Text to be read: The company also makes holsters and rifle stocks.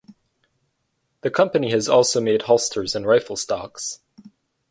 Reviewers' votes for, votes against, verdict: 0, 4, rejected